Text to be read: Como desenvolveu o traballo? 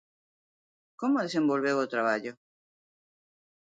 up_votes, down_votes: 2, 0